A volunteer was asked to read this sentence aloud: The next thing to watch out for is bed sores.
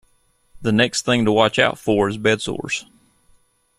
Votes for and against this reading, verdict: 2, 0, accepted